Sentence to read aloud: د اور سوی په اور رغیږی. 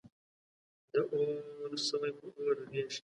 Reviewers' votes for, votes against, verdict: 2, 0, accepted